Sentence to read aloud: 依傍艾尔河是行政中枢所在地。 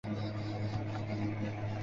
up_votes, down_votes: 0, 2